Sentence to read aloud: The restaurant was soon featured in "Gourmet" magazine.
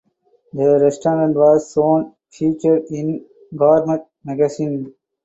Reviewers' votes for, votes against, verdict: 2, 4, rejected